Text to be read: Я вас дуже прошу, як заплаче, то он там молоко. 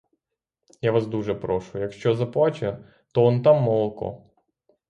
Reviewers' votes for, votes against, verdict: 0, 3, rejected